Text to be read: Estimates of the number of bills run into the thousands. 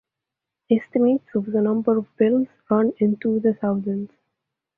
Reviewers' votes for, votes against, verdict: 2, 0, accepted